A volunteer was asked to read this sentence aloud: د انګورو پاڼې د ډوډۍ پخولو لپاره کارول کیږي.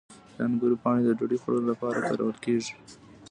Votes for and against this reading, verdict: 2, 0, accepted